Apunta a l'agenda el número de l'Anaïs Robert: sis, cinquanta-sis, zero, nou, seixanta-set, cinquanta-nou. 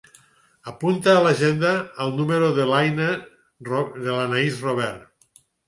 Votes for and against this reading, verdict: 2, 4, rejected